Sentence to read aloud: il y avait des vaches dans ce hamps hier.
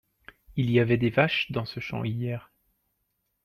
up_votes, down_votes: 2, 0